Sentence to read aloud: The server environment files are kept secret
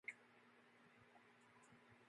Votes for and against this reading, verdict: 0, 2, rejected